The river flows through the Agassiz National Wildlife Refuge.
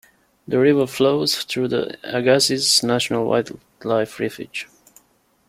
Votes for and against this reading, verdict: 0, 2, rejected